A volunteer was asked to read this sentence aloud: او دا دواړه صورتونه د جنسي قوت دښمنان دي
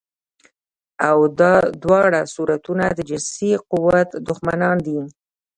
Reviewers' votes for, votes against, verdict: 1, 2, rejected